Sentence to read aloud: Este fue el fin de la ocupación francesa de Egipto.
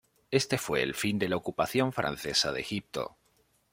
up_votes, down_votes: 2, 0